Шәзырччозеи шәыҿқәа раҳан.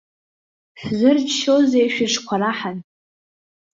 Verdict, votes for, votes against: accepted, 2, 0